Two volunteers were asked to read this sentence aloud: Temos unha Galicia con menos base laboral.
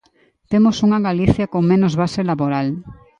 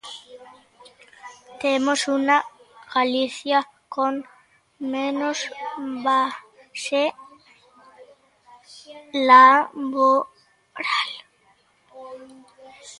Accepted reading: first